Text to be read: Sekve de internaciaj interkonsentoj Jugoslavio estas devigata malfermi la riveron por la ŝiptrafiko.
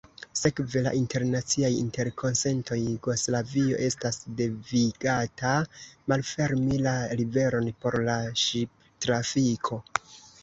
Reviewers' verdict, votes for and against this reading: rejected, 0, 2